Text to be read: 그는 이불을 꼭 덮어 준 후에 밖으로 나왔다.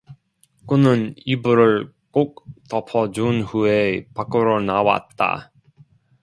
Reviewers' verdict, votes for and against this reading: accepted, 2, 0